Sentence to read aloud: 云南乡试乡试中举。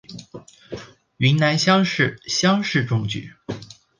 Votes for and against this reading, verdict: 2, 0, accepted